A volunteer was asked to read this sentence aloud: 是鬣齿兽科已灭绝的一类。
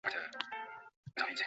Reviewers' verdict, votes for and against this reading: rejected, 0, 4